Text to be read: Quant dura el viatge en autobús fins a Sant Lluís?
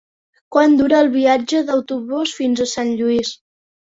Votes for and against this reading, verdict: 3, 4, rejected